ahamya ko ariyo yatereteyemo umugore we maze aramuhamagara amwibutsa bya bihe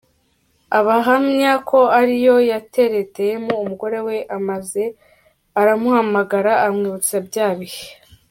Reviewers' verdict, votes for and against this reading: accepted, 2, 1